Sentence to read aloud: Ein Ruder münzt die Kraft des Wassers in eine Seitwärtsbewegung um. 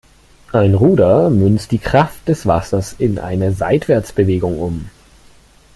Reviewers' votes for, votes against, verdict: 2, 0, accepted